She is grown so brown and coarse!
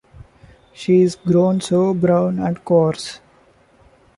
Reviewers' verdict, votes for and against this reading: accepted, 2, 0